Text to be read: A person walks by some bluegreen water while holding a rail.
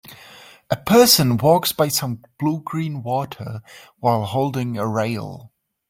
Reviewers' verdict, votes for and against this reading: accepted, 2, 0